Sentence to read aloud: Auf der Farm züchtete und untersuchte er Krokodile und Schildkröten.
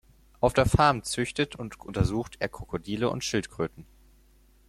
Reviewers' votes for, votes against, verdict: 0, 4, rejected